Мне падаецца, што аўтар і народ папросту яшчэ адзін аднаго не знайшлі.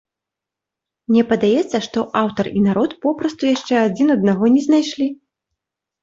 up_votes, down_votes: 0, 2